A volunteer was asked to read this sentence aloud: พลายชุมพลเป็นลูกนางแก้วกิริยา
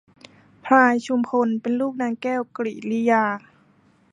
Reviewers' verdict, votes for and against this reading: rejected, 0, 2